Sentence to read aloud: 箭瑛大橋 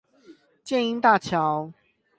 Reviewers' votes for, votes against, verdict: 8, 0, accepted